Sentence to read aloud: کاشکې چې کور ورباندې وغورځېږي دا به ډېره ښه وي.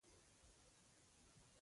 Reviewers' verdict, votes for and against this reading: rejected, 0, 2